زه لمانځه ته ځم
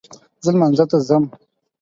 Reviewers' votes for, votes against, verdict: 4, 0, accepted